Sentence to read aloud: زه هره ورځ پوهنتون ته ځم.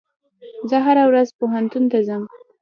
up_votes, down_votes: 0, 2